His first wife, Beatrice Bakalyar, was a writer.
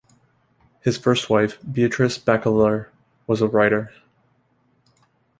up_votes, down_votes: 2, 1